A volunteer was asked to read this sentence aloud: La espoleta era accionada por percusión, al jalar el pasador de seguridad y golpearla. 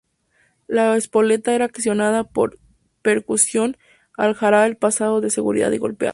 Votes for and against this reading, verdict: 0, 4, rejected